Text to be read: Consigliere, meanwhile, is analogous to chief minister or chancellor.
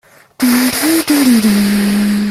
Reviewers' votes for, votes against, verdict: 0, 2, rejected